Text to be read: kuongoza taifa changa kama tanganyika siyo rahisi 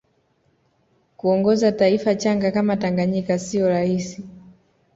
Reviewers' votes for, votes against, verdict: 2, 0, accepted